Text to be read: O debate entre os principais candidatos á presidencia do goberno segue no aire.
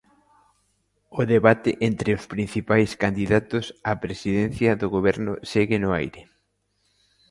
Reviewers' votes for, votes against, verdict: 2, 0, accepted